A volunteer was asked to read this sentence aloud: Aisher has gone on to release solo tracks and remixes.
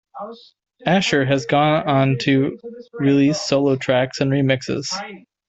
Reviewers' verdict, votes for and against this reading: rejected, 0, 2